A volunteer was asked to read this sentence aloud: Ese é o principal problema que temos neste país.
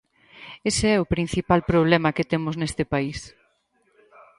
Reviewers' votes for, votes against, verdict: 2, 2, rejected